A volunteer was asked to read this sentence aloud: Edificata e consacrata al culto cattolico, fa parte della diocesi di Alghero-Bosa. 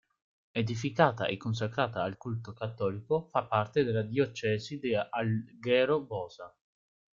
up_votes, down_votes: 1, 2